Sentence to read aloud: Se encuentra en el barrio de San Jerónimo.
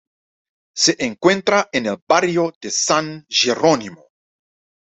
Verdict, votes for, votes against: rejected, 0, 2